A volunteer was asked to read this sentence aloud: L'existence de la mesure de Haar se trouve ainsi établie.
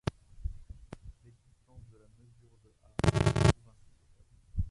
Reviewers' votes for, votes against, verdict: 0, 2, rejected